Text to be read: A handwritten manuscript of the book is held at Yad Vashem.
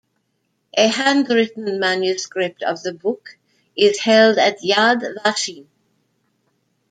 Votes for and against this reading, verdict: 1, 2, rejected